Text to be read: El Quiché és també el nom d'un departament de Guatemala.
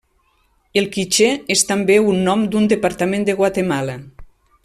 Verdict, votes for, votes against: rejected, 1, 2